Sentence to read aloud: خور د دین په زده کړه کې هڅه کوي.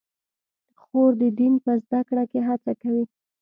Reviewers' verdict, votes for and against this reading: rejected, 0, 2